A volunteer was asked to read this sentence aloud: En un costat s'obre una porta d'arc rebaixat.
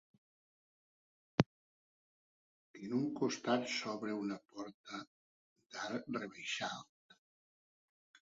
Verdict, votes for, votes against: rejected, 2, 3